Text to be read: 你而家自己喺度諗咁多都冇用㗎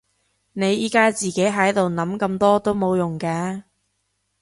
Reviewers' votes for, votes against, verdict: 1, 3, rejected